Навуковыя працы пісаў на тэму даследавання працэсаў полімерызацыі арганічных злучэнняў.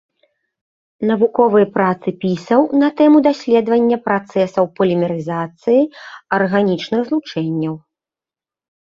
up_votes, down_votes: 0, 2